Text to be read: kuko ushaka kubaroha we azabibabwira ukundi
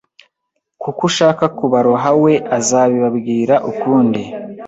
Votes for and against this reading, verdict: 2, 0, accepted